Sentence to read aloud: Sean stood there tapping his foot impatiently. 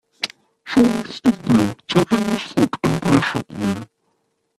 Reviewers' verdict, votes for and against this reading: rejected, 0, 2